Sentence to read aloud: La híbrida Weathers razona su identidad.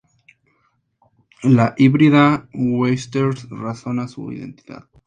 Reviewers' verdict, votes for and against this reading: accepted, 2, 0